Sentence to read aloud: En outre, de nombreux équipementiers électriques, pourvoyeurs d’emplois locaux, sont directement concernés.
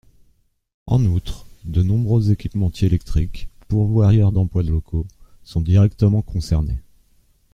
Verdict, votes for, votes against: rejected, 1, 2